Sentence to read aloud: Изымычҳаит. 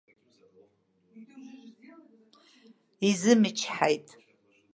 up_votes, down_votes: 1, 2